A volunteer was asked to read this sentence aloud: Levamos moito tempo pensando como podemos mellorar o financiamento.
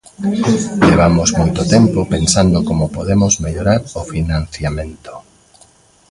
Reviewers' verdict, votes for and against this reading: accepted, 2, 0